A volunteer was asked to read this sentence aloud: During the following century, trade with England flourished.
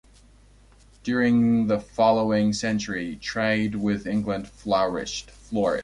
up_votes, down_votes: 0, 2